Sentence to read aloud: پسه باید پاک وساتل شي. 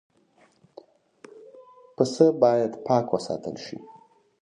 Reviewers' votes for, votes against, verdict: 0, 2, rejected